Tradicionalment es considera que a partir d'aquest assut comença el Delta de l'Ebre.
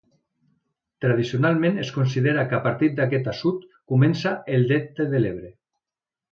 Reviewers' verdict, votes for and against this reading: accepted, 2, 0